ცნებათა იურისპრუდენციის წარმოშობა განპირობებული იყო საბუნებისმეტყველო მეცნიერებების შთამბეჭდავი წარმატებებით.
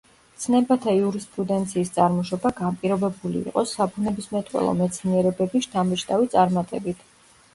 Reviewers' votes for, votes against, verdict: 1, 2, rejected